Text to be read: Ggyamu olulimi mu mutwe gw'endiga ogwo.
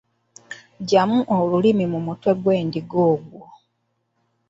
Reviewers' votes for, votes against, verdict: 2, 0, accepted